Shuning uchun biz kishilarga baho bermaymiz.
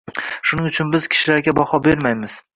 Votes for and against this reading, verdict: 2, 0, accepted